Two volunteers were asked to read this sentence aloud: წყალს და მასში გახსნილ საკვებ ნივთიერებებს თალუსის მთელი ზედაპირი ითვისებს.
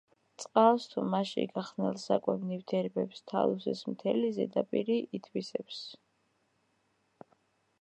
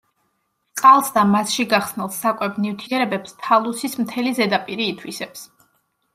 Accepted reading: second